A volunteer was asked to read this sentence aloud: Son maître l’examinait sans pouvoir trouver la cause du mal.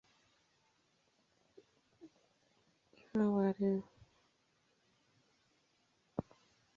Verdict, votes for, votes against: rejected, 1, 2